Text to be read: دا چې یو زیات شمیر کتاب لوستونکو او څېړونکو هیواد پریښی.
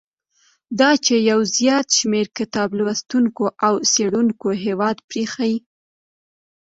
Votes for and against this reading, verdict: 3, 1, accepted